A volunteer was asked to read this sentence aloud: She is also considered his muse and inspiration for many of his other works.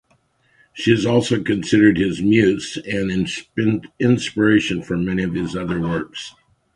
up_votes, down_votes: 1, 2